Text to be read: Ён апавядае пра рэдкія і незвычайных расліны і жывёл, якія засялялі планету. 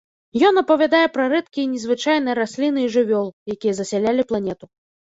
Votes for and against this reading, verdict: 0, 2, rejected